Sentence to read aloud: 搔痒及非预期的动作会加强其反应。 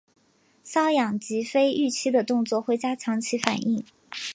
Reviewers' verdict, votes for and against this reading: accepted, 3, 0